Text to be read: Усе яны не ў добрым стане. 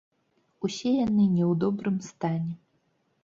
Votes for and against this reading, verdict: 1, 3, rejected